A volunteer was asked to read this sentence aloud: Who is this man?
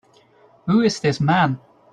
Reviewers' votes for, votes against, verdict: 2, 0, accepted